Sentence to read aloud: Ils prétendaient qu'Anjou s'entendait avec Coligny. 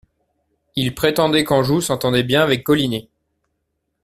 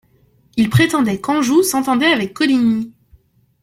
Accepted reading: second